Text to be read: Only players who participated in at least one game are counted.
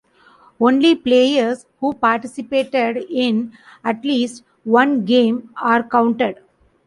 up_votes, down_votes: 2, 0